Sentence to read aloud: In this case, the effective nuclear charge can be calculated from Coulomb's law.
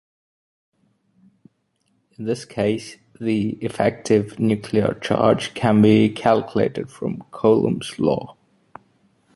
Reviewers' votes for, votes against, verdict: 2, 1, accepted